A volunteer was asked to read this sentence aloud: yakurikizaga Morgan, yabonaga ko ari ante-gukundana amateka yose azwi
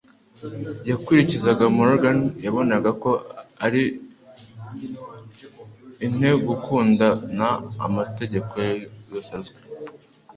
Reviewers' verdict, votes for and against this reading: rejected, 1, 2